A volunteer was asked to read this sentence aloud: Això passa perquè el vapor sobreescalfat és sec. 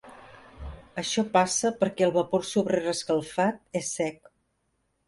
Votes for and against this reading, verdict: 0, 2, rejected